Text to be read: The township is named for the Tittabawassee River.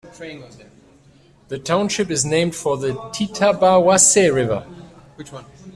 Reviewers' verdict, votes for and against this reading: rejected, 0, 2